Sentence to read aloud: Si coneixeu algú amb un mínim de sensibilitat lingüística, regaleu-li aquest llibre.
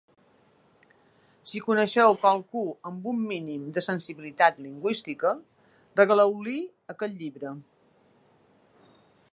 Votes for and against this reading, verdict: 1, 2, rejected